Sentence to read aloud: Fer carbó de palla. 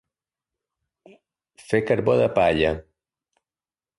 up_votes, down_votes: 0, 2